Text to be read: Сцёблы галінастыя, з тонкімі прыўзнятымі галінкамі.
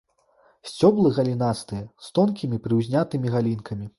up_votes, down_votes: 2, 0